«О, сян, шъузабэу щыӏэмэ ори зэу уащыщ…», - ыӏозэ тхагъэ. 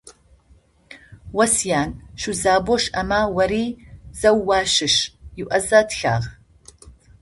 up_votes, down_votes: 0, 2